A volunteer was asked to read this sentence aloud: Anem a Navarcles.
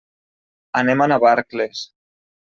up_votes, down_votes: 3, 0